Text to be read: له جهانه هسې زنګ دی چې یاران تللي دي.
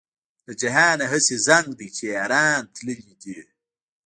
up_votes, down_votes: 1, 2